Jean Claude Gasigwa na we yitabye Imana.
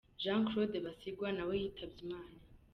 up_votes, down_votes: 3, 0